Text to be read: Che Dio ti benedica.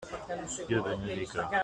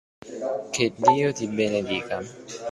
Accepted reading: second